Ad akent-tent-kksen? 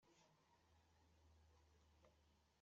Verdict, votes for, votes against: rejected, 0, 2